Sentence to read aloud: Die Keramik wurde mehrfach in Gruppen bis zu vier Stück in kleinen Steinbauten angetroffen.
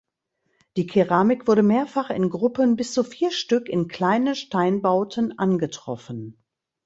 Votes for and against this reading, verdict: 1, 2, rejected